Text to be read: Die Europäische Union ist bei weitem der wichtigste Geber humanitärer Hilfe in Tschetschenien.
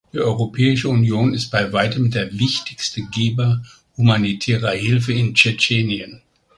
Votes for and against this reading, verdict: 1, 2, rejected